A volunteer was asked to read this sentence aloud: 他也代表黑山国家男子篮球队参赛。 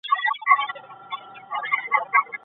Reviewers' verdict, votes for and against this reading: rejected, 0, 2